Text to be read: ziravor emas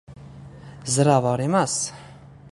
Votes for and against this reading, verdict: 1, 2, rejected